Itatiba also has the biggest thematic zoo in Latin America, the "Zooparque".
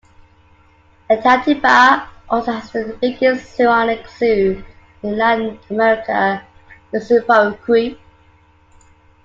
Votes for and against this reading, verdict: 2, 1, accepted